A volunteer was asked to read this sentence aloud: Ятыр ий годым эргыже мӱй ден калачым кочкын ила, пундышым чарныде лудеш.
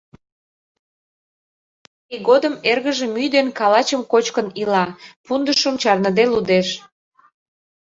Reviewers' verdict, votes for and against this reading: rejected, 0, 2